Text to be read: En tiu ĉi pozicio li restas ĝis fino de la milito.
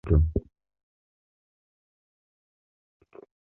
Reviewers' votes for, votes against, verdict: 1, 2, rejected